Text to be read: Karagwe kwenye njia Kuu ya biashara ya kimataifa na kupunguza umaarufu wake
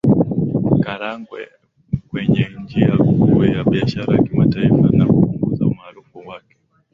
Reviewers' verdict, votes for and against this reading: accepted, 2, 0